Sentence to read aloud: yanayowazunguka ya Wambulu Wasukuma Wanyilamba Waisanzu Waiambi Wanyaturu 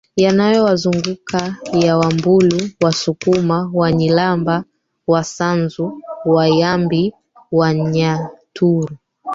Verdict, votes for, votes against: rejected, 0, 2